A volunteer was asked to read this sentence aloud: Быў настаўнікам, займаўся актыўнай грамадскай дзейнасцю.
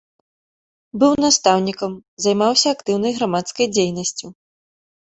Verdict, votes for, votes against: accepted, 2, 0